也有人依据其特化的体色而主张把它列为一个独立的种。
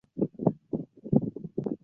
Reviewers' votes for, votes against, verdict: 1, 2, rejected